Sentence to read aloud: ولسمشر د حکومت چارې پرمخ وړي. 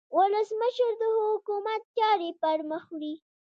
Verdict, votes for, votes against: rejected, 0, 2